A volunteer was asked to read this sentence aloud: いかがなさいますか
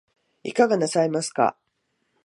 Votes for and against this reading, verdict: 2, 0, accepted